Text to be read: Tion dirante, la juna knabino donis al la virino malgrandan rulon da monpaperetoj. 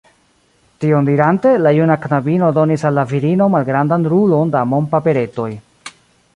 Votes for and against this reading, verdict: 1, 2, rejected